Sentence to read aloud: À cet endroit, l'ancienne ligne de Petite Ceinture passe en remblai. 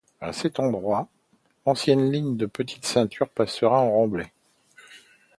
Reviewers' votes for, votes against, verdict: 0, 2, rejected